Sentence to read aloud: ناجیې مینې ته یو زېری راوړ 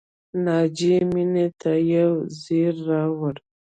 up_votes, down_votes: 0, 2